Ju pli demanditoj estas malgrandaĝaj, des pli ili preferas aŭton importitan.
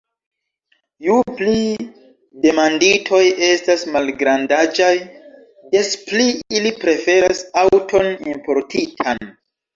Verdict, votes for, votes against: rejected, 0, 2